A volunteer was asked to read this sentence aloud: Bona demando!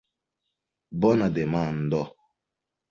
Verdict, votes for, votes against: accepted, 2, 1